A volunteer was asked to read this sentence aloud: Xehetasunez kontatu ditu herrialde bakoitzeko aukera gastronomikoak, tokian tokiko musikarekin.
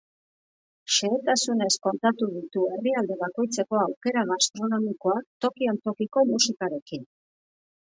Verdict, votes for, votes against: accepted, 2, 0